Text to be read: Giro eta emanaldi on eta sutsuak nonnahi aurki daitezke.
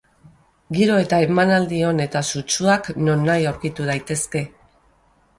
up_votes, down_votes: 2, 4